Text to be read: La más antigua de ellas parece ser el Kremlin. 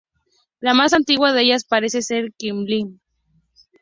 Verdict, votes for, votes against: rejected, 0, 2